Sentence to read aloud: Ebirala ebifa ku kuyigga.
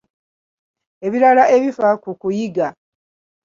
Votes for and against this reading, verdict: 1, 2, rejected